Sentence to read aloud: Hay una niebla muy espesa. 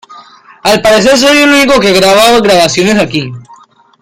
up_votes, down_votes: 0, 2